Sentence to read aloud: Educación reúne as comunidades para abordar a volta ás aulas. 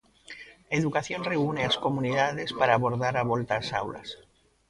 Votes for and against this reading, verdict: 2, 0, accepted